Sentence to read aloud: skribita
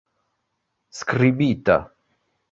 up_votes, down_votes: 2, 1